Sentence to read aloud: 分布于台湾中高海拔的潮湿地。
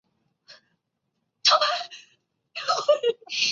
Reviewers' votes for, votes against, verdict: 0, 4, rejected